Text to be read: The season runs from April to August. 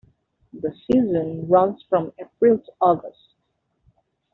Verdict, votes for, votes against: accepted, 2, 0